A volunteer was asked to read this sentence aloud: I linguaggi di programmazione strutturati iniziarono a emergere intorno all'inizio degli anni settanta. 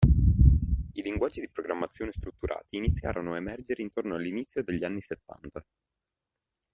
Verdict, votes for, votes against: accepted, 2, 0